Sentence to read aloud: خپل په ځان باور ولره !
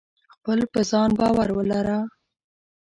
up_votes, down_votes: 2, 0